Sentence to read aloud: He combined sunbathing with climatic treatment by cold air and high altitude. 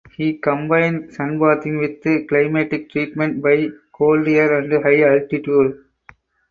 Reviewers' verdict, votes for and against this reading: rejected, 0, 4